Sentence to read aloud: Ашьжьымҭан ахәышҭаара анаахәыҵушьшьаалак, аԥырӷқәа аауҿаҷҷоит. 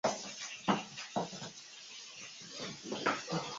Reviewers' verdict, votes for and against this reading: rejected, 0, 2